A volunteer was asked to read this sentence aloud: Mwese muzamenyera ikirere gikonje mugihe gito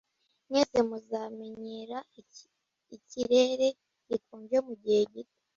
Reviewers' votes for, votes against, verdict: 0, 2, rejected